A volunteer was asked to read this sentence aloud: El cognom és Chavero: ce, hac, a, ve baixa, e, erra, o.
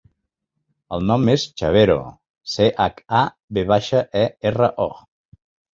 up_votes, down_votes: 3, 4